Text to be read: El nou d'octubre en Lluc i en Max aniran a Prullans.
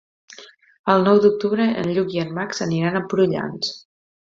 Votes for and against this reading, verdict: 2, 0, accepted